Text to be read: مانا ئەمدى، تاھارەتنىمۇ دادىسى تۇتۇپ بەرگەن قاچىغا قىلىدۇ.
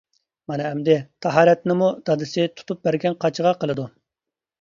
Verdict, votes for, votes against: accepted, 2, 0